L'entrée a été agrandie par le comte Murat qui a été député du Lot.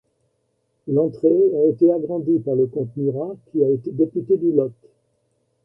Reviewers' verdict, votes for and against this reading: accepted, 2, 0